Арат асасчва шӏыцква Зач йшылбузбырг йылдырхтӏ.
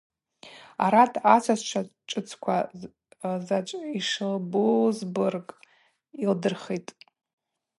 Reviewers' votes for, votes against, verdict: 2, 0, accepted